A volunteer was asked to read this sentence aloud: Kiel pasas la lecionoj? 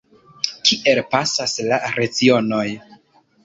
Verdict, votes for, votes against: rejected, 1, 2